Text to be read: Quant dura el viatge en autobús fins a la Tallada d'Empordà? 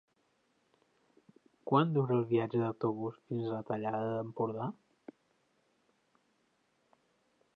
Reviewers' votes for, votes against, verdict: 1, 2, rejected